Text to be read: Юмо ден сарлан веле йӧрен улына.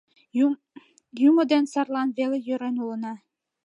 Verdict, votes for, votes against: rejected, 0, 2